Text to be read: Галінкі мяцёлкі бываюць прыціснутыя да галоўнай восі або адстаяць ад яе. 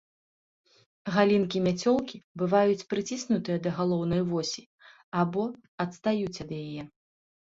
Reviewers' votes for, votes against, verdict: 0, 2, rejected